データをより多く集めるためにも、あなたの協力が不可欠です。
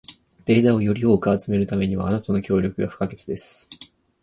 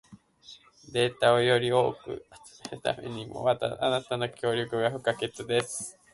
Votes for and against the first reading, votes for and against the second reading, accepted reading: 2, 2, 2, 0, second